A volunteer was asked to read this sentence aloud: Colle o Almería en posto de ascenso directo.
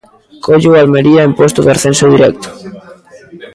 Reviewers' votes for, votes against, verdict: 0, 2, rejected